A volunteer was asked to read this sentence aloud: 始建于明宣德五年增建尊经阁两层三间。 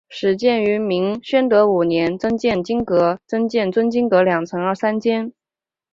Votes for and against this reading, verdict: 2, 0, accepted